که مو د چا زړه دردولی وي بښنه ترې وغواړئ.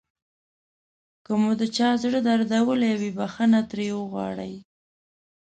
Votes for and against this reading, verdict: 2, 0, accepted